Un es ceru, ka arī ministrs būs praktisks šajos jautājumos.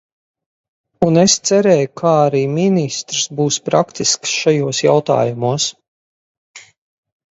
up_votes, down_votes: 0, 2